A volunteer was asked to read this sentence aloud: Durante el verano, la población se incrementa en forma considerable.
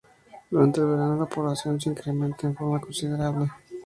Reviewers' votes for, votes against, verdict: 2, 0, accepted